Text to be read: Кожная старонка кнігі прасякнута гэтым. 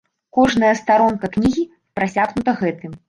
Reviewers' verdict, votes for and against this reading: accepted, 2, 0